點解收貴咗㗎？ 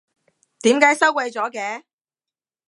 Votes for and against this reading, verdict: 1, 2, rejected